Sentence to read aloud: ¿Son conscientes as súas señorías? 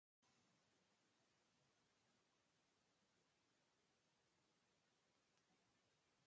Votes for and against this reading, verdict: 0, 2, rejected